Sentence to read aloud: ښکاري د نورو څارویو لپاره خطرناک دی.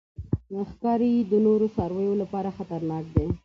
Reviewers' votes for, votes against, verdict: 2, 0, accepted